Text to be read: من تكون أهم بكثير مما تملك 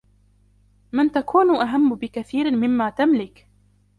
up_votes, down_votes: 2, 0